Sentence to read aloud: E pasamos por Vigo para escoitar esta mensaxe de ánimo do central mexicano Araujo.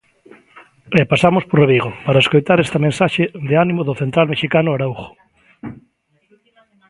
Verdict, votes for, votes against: accepted, 2, 0